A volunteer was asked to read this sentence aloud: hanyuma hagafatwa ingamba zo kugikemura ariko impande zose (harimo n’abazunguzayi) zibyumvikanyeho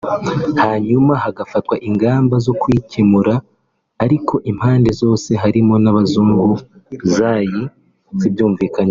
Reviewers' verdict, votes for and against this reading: rejected, 1, 2